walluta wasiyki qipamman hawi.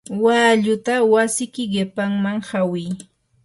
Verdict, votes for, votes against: accepted, 4, 0